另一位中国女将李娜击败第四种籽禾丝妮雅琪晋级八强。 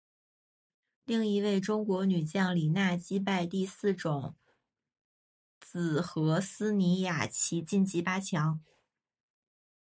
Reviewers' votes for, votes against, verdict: 2, 2, rejected